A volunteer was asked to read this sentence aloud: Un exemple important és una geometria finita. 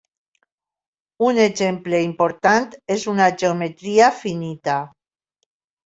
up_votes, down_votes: 3, 0